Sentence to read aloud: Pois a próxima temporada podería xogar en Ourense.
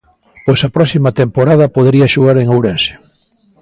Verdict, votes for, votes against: accepted, 2, 0